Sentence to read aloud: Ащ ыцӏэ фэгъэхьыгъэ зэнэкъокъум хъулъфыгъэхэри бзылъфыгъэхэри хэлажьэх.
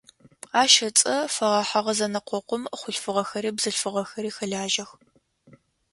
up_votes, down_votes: 2, 0